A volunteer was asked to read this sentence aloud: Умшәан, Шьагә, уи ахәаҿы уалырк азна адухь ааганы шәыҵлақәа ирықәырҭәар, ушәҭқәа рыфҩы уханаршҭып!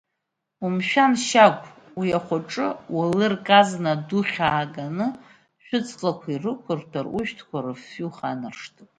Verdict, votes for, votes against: accepted, 2, 0